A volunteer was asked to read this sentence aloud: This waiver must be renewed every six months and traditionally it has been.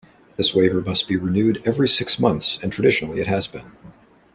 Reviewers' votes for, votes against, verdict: 2, 0, accepted